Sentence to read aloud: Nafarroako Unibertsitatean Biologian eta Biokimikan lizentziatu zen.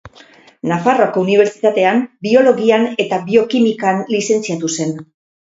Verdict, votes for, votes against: rejected, 2, 2